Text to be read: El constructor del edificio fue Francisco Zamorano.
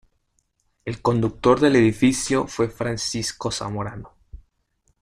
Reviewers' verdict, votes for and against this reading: rejected, 0, 2